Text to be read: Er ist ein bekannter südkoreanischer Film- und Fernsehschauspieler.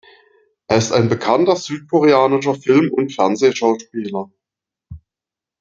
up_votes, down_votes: 2, 0